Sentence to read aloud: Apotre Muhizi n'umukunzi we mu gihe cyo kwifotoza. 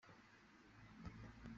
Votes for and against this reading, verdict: 0, 2, rejected